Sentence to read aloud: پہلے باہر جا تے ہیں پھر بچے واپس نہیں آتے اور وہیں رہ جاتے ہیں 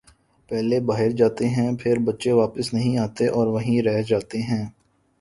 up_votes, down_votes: 1, 2